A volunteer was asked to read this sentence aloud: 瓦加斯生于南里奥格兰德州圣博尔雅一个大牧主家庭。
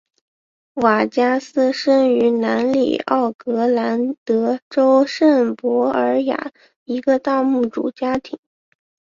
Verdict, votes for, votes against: accepted, 8, 1